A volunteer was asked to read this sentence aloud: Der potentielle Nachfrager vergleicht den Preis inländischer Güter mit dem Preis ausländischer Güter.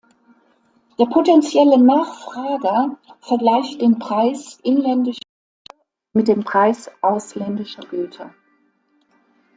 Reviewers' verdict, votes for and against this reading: rejected, 0, 2